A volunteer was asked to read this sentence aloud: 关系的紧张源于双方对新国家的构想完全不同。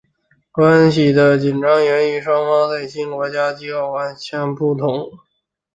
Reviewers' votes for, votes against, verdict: 0, 3, rejected